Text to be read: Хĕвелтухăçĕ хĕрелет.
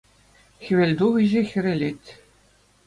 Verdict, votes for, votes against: accepted, 2, 0